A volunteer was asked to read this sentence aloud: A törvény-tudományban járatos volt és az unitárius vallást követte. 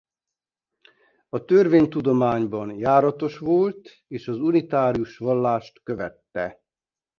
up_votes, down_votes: 2, 0